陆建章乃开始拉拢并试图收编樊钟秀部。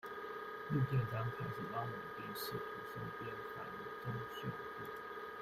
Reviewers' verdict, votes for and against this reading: rejected, 0, 2